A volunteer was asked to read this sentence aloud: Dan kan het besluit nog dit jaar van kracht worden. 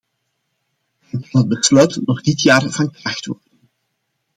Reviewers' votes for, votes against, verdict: 0, 2, rejected